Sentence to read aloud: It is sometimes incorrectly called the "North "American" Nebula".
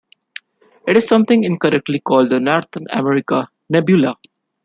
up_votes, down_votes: 1, 2